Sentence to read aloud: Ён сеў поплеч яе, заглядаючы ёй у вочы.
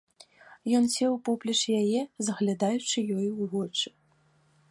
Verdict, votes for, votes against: accepted, 2, 0